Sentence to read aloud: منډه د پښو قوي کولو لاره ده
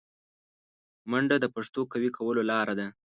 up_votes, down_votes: 1, 2